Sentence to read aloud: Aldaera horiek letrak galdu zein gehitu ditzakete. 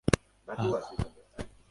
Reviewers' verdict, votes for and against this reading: rejected, 0, 6